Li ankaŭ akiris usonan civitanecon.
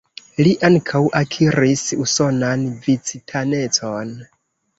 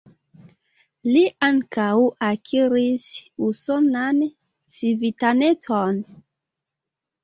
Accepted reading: second